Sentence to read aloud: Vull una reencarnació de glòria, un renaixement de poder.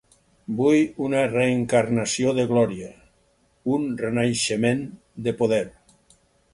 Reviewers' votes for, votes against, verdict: 4, 0, accepted